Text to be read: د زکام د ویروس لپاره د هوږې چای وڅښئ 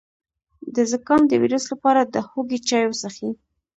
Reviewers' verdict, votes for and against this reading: accepted, 2, 0